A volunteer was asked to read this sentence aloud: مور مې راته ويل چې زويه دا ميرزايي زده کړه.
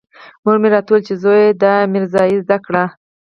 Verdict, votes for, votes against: accepted, 4, 2